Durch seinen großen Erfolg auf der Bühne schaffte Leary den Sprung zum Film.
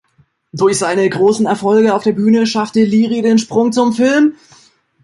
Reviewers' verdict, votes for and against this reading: rejected, 1, 3